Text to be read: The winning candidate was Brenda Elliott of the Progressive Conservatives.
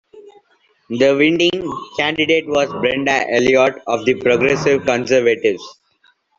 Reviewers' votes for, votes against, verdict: 2, 1, accepted